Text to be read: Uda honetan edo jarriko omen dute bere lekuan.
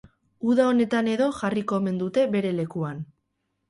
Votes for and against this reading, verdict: 4, 0, accepted